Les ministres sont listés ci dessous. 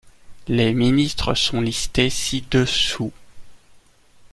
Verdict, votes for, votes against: accepted, 2, 0